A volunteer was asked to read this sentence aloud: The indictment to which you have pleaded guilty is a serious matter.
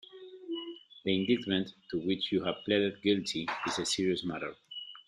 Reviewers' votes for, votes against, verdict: 1, 2, rejected